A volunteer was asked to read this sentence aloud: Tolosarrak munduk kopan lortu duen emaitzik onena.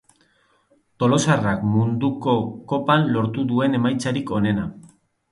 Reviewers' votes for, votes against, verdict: 0, 2, rejected